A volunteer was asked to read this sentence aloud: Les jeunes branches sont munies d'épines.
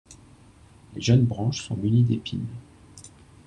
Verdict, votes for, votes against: accepted, 2, 0